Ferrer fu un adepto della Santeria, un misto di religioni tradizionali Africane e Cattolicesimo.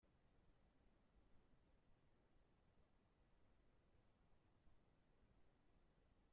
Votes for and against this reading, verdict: 0, 2, rejected